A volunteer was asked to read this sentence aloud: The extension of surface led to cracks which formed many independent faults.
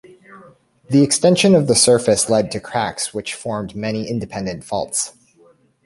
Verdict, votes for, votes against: rejected, 0, 2